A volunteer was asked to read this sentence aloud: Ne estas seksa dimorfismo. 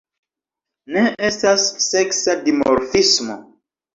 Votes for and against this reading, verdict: 2, 0, accepted